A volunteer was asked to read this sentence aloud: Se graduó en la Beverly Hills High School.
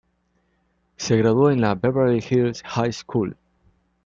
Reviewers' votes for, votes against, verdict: 2, 0, accepted